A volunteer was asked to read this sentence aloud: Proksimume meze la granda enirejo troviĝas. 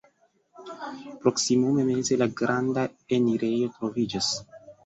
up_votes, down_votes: 2, 0